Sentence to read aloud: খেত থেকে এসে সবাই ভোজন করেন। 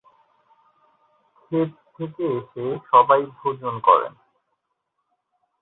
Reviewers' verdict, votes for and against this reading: rejected, 1, 2